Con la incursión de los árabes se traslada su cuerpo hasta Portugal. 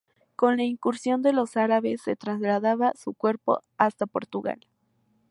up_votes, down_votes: 0, 2